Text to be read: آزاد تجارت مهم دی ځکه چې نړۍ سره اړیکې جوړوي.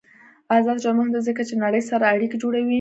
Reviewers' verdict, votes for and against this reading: accepted, 2, 0